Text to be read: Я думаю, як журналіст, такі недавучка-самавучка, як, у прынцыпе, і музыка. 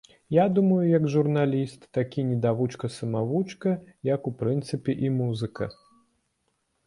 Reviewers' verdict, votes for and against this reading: rejected, 1, 2